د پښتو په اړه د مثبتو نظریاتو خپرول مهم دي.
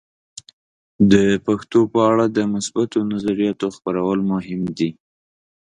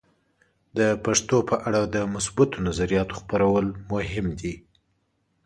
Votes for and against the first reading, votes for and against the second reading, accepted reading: 0, 2, 2, 0, second